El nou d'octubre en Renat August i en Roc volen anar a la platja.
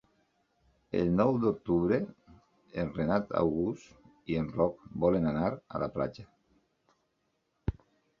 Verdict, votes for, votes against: accepted, 5, 0